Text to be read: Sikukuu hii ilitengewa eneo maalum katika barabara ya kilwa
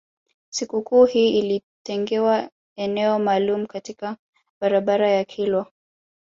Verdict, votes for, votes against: accepted, 2, 0